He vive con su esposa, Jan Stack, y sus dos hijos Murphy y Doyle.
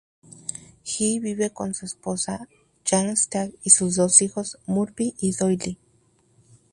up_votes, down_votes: 2, 0